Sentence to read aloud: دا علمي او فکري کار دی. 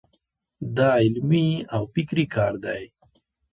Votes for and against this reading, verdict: 2, 0, accepted